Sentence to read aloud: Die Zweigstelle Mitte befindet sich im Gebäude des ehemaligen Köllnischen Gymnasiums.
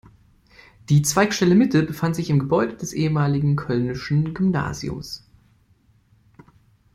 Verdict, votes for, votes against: rejected, 0, 2